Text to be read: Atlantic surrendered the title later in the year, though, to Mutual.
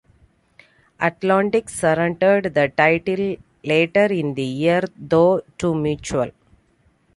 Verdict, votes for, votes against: accepted, 2, 0